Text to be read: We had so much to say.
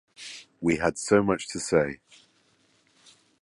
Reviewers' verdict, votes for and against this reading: accepted, 2, 0